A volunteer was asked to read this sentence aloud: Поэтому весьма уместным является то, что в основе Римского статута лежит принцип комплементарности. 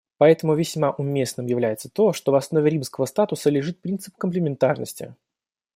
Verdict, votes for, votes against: rejected, 1, 2